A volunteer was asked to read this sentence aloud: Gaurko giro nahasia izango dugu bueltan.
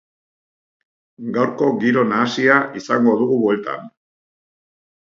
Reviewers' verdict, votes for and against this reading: accepted, 2, 0